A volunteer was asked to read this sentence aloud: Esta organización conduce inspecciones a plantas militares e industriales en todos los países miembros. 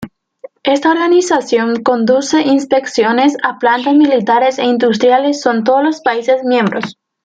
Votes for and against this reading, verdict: 1, 2, rejected